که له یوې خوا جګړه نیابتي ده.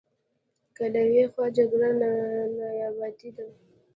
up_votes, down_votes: 1, 2